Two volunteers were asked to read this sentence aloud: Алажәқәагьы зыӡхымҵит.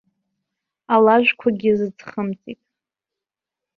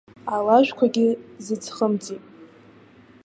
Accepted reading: second